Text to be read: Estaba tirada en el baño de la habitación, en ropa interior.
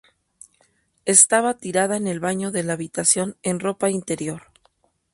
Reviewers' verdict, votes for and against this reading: accepted, 2, 0